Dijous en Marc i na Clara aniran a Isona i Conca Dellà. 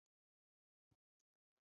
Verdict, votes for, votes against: rejected, 0, 2